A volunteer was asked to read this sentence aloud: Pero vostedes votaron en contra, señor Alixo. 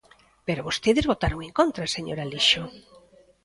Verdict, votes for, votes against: rejected, 0, 2